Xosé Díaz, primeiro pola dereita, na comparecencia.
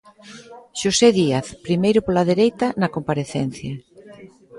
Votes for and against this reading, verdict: 1, 2, rejected